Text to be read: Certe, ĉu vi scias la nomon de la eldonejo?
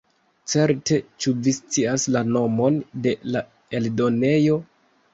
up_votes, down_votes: 2, 0